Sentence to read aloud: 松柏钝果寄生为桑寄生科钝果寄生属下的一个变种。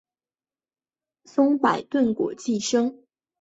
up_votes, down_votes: 1, 5